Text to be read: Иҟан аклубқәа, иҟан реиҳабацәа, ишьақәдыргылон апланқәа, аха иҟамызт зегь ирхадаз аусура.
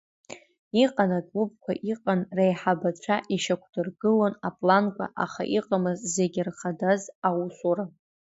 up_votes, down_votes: 1, 2